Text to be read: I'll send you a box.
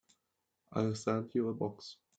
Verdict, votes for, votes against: rejected, 0, 2